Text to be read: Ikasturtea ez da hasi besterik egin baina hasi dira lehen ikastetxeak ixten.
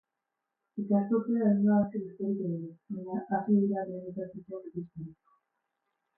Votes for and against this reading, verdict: 0, 6, rejected